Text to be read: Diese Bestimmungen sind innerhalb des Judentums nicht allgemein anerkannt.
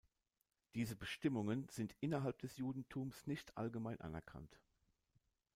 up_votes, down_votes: 2, 0